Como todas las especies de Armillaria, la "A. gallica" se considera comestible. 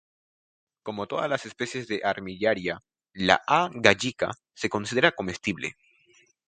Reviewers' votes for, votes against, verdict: 2, 0, accepted